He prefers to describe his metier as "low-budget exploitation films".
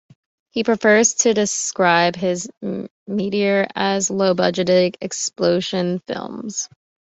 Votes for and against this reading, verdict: 0, 2, rejected